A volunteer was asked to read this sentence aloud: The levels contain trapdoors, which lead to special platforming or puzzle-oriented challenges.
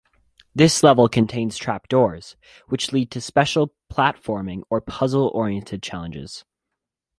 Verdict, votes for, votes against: accepted, 2, 1